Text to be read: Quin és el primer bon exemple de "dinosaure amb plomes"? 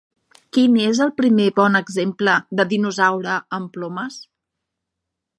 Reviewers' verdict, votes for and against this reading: accepted, 3, 0